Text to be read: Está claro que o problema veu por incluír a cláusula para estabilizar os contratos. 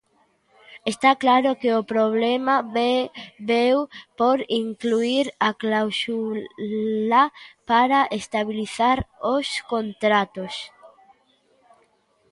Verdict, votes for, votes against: rejected, 0, 2